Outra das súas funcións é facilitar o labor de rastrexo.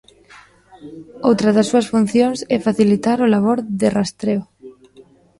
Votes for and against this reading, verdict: 0, 2, rejected